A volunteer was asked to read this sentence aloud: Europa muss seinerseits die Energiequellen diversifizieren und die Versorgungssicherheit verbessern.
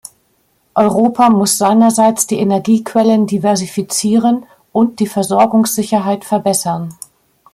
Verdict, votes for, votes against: accepted, 2, 0